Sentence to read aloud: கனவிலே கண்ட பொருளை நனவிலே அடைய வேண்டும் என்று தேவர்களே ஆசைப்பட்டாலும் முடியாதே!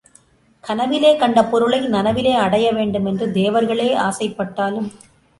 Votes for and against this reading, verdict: 0, 2, rejected